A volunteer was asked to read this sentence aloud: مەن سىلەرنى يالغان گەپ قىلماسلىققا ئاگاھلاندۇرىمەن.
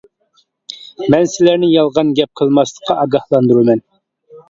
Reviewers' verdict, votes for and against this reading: accepted, 2, 0